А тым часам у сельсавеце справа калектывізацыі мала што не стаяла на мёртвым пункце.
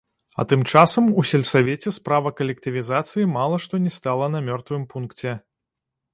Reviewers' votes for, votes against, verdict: 0, 2, rejected